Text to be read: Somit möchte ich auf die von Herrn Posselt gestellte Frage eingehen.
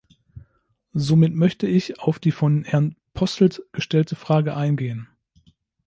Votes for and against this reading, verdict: 2, 0, accepted